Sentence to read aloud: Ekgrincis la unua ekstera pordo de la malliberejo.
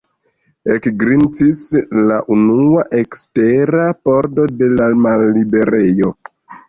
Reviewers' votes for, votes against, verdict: 2, 1, accepted